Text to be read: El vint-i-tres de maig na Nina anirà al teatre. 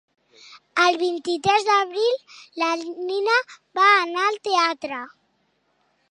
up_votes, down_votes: 0, 2